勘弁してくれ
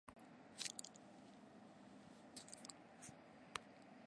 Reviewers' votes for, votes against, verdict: 0, 2, rejected